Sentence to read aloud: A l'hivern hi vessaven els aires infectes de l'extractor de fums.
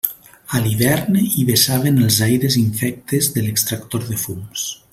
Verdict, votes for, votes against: accepted, 2, 0